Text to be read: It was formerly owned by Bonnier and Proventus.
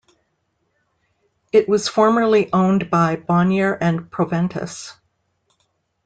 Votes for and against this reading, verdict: 2, 0, accepted